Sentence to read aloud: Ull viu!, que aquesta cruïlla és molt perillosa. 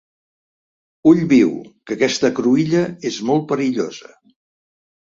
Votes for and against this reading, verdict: 2, 0, accepted